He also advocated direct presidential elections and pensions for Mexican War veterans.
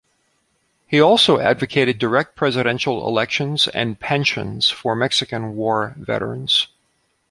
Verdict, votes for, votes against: accepted, 2, 0